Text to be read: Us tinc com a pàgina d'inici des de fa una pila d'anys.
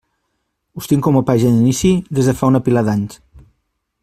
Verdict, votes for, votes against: rejected, 0, 2